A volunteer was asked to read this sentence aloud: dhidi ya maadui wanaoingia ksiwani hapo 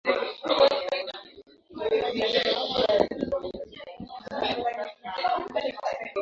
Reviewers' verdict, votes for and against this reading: rejected, 2, 12